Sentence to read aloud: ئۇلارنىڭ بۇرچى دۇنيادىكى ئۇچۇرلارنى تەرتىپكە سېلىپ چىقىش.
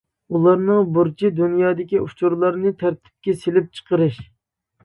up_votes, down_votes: 0, 2